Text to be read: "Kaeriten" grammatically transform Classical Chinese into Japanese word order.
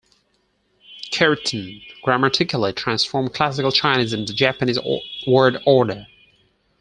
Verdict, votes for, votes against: rejected, 2, 4